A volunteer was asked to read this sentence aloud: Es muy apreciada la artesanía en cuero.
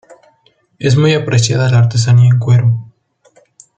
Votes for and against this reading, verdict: 2, 0, accepted